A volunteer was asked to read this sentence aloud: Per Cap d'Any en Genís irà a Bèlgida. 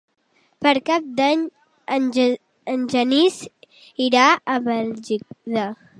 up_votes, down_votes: 0, 3